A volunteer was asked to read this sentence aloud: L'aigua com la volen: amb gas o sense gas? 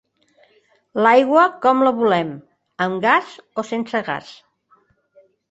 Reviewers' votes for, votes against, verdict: 1, 2, rejected